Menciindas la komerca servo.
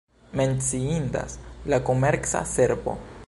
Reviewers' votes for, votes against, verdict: 2, 0, accepted